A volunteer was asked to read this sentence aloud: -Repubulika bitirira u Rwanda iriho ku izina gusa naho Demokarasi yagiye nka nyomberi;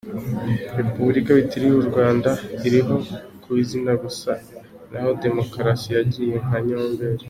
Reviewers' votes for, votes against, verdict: 2, 0, accepted